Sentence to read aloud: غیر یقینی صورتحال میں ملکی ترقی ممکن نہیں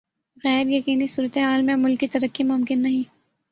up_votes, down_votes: 2, 0